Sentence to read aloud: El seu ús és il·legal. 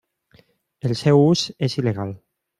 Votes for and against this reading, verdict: 3, 0, accepted